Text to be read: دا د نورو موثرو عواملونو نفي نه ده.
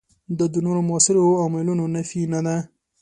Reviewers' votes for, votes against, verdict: 2, 1, accepted